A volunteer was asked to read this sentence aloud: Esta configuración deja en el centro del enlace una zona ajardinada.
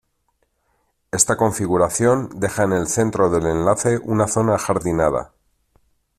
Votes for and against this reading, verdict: 2, 0, accepted